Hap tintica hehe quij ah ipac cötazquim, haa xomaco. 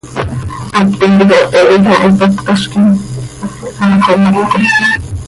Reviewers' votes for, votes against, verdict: 1, 2, rejected